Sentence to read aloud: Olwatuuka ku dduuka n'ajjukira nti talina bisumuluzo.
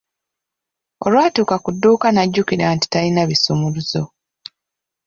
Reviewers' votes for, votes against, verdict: 0, 2, rejected